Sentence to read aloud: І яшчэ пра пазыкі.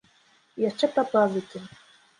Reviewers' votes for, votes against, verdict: 1, 2, rejected